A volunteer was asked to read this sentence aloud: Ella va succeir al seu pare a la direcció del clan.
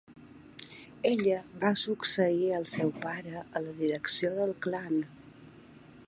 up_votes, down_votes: 3, 0